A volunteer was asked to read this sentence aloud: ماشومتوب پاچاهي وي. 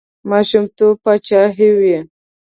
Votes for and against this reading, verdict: 2, 0, accepted